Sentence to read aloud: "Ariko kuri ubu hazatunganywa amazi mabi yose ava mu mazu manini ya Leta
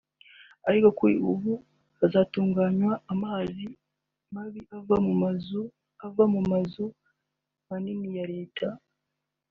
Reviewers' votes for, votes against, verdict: 0, 2, rejected